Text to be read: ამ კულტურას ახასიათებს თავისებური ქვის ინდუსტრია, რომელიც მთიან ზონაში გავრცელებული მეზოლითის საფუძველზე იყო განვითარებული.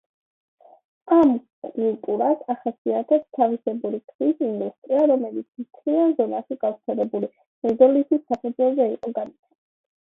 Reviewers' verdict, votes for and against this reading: rejected, 1, 2